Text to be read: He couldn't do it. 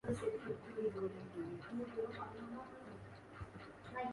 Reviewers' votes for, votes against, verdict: 0, 2, rejected